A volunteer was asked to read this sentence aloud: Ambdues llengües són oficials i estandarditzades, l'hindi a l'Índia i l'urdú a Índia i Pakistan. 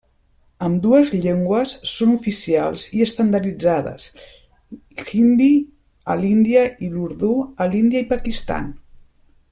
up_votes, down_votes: 0, 2